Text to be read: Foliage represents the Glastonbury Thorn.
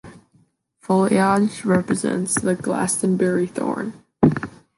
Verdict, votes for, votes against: accepted, 2, 0